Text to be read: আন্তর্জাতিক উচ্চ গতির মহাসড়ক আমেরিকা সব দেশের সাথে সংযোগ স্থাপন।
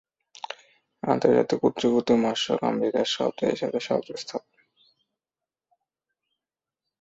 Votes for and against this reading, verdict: 1, 2, rejected